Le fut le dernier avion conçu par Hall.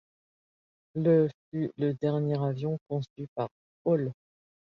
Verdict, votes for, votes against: accepted, 2, 1